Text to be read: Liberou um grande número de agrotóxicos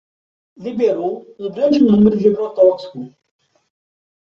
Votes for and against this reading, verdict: 0, 2, rejected